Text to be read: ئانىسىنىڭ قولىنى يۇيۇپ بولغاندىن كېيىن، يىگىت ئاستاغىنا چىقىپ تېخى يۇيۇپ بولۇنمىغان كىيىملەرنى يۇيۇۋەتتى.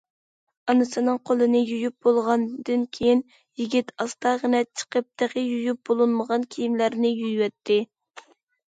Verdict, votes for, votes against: accepted, 2, 0